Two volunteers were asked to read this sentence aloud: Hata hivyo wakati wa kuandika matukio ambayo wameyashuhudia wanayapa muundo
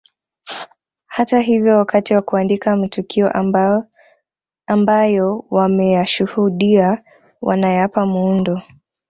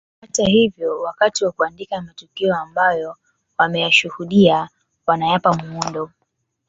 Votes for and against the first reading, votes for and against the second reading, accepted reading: 0, 2, 2, 0, second